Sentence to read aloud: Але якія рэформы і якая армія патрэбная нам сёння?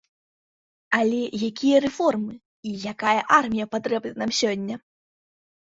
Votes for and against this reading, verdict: 1, 2, rejected